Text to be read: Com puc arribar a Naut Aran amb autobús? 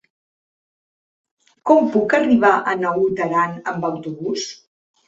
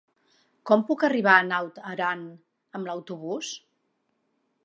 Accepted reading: first